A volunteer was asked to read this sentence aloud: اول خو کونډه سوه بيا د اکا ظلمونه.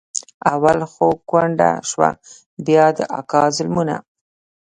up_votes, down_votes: 0, 2